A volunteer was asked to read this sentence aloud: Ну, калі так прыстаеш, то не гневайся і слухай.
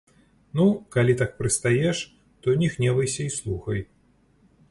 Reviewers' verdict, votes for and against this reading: accepted, 2, 0